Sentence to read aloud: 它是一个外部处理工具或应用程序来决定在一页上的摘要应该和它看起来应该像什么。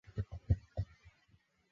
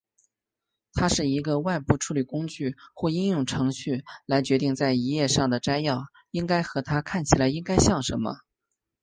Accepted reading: second